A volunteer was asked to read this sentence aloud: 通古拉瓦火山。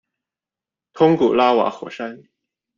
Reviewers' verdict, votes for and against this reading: accepted, 2, 0